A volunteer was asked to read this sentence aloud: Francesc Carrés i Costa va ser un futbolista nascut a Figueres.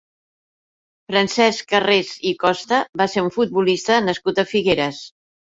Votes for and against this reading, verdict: 2, 0, accepted